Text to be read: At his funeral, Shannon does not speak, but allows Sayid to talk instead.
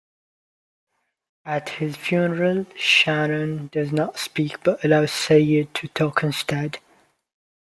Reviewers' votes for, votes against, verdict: 2, 0, accepted